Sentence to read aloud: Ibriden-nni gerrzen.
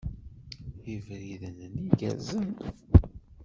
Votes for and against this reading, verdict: 0, 2, rejected